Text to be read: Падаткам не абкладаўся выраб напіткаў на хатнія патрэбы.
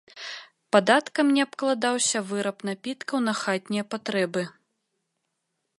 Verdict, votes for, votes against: accepted, 2, 0